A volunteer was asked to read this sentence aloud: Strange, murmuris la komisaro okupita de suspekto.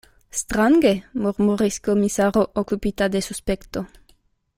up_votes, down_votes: 0, 2